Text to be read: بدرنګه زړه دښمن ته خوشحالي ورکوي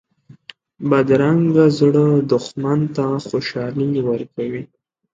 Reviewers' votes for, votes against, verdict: 2, 0, accepted